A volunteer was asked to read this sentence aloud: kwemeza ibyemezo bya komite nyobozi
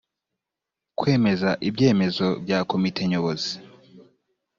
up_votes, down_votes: 2, 0